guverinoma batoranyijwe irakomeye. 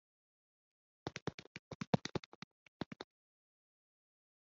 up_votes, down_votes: 0, 4